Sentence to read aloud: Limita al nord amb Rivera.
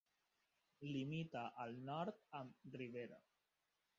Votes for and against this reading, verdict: 0, 2, rejected